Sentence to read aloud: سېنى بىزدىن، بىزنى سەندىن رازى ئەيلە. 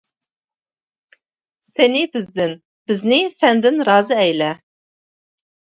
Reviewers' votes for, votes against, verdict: 2, 0, accepted